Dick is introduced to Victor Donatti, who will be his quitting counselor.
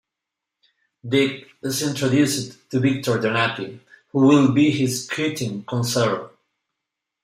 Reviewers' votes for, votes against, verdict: 1, 2, rejected